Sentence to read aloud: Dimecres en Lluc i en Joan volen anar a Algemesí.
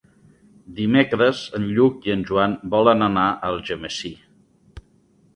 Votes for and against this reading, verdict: 4, 1, accepted